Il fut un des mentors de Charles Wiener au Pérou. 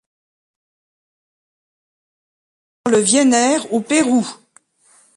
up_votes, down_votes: 0, 3